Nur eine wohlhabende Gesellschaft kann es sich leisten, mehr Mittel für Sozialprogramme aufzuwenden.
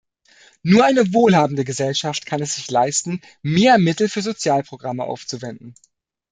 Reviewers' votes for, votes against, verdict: 2, 0, accepted